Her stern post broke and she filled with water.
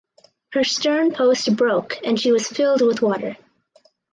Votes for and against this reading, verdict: 0, 2, rejected